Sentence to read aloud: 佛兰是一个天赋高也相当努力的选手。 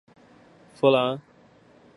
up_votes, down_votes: 0, 3